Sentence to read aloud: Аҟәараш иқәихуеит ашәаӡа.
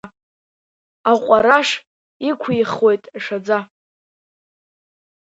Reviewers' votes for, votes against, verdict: 2, 0, accepted